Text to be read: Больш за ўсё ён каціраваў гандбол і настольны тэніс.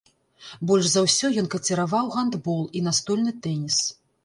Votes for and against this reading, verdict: 0, 2, rejected